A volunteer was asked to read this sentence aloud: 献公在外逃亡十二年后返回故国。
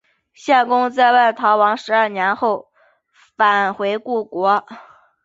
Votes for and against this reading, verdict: 3, 0, accepted